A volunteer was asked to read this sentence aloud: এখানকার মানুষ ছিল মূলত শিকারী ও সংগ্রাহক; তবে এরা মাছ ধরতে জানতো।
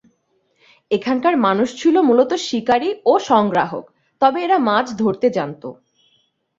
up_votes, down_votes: 2, 0